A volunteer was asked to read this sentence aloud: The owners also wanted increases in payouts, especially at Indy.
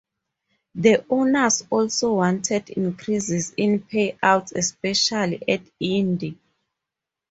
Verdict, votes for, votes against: rejected, 2, 4